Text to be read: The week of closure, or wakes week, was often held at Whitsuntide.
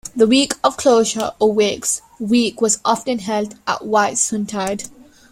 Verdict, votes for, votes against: rejected, 1, 2